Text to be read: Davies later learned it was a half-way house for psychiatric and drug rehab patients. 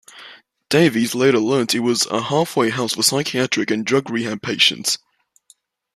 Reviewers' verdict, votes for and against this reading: accepted, 2, 1